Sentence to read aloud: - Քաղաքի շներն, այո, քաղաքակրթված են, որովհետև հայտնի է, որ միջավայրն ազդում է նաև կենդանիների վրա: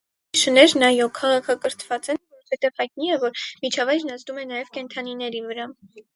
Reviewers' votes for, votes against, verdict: 2, 4, rejected